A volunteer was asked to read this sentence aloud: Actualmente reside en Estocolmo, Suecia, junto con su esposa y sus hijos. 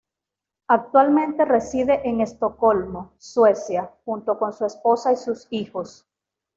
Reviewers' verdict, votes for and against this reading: rejected, 0, 2